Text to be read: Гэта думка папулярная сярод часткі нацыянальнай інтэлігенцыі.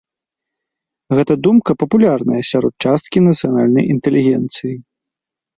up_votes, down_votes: 2, 0